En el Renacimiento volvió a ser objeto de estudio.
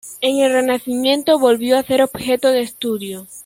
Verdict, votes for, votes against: rejected, 1, 2